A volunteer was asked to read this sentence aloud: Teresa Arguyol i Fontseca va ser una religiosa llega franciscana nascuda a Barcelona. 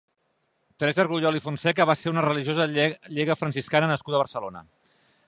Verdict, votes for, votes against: rejected, 0, 2